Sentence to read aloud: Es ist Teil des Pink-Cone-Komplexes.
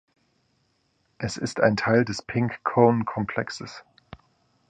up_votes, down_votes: 1, 2